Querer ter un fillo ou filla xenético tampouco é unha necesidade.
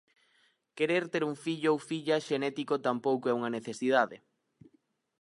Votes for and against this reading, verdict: 4, 0, accepted